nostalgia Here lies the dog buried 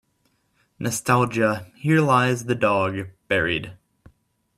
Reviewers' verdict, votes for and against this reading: accepted, 2, 0